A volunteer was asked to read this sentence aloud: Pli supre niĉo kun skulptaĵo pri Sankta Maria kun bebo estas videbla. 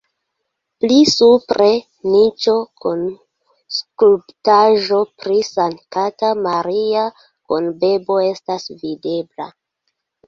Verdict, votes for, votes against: rejected, 1, 2